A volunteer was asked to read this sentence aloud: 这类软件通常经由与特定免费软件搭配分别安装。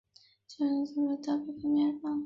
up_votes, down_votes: 0, 2